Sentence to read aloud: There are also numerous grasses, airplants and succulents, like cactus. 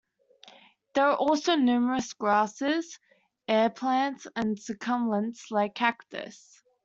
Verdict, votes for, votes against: rejected, 1, 2